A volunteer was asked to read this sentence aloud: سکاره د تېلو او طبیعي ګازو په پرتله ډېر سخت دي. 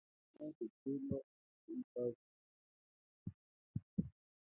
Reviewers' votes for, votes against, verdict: 0, 2, rejected